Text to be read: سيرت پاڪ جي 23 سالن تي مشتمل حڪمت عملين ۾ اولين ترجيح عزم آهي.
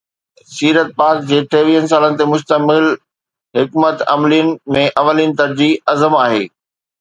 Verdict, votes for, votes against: rejected, 0, 2